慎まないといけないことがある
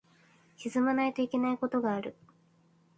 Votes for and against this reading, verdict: 2, 2, rejected